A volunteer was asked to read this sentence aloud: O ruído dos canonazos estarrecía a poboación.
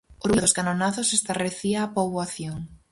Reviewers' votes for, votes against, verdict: 0, 4, rejected